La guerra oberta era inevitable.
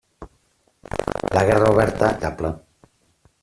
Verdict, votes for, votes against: rejected, 0, 2